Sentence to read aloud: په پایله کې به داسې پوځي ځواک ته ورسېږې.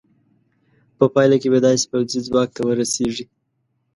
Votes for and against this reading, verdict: 2, 0, accepted